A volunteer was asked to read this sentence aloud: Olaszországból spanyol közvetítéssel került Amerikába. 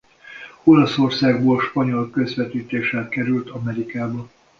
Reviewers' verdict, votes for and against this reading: accepted, 2, 0